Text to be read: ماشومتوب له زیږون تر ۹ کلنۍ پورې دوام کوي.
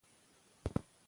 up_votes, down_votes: 0, 2